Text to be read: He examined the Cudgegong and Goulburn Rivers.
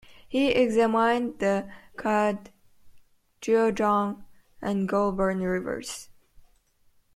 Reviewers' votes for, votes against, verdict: 3, 1, accepted